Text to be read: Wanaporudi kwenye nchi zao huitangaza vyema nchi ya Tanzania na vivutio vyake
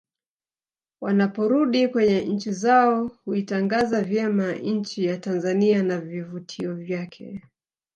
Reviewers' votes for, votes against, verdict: 2, 1, accepted